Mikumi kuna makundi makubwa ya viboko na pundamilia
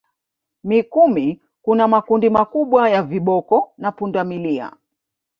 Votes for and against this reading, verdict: 1, 2, rejected